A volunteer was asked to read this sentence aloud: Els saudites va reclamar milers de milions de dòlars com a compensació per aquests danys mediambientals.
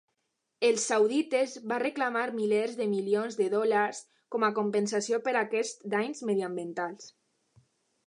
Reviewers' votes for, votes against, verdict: 2, 0, accepted